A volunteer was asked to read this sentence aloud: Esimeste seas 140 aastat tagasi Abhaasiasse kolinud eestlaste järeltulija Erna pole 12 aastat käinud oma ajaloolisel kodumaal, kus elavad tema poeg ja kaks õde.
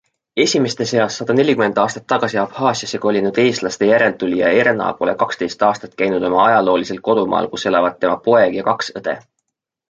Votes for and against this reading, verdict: 0, 2, rejected